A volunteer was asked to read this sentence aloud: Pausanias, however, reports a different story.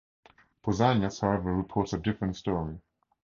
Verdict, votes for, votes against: accepted, 4, 0